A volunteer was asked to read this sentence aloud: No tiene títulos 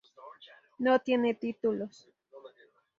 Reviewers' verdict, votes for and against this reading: rejected, 2, 2